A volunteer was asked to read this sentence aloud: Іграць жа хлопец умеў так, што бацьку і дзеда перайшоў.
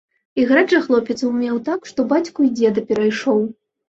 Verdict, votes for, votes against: accepted, 2, 0